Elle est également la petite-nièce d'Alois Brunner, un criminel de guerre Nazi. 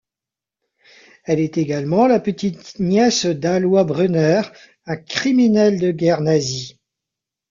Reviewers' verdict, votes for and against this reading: rejected, 0, 2